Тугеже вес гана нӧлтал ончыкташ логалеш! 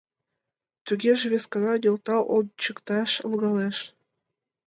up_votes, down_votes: 2, 0